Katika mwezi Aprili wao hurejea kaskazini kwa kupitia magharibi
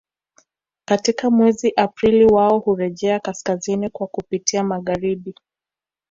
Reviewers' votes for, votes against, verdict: 2, 0, accepted